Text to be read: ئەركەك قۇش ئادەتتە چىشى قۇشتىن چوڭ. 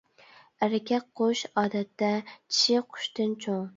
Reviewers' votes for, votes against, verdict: 2, 0, accepted